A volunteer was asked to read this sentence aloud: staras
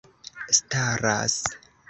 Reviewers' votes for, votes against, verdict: 2, 0, accepted